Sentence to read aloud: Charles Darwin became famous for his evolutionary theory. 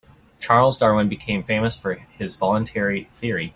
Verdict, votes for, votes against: rejected, 0, 2